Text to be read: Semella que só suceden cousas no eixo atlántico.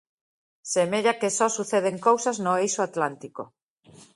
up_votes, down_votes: 2, 0